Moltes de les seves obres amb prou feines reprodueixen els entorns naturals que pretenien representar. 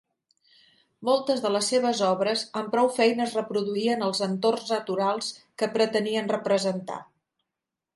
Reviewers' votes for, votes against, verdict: 0, 2, rejected